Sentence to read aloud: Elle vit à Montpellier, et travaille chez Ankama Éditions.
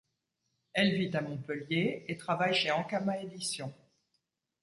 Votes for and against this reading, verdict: 2, 0, accepted